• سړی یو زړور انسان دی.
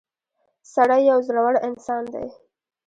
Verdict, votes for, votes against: rejected, 1, 2